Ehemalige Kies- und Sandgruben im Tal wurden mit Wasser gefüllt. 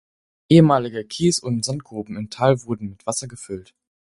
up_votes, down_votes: 4, 0